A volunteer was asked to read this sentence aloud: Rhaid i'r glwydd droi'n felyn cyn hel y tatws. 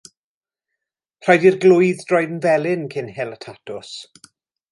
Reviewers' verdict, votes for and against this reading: accepted, 2, 0